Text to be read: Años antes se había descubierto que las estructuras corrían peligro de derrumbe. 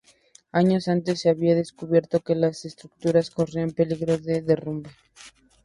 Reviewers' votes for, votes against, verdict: 2, 0, accepted